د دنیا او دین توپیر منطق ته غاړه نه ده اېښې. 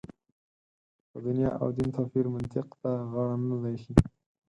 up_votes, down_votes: 4, 0